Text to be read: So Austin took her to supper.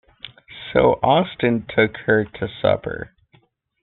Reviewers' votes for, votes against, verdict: 2, 0, accepted